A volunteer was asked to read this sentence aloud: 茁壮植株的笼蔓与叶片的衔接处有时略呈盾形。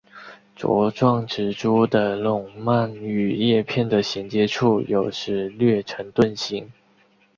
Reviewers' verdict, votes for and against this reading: accepted, 2, 1